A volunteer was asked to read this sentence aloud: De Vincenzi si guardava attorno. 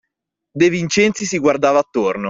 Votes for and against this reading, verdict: 2, 0, accepted